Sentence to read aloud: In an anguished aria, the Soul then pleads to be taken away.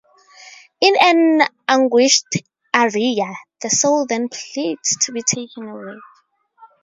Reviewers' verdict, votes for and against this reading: accepted, 2, 0